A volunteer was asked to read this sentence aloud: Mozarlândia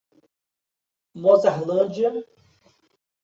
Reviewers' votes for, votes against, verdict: 2, 0, accepted